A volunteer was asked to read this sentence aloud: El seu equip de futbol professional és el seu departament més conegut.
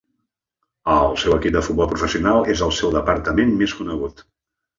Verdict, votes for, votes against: accepted, 2, 0